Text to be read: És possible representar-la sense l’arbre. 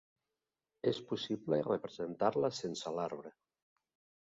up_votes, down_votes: 2, 0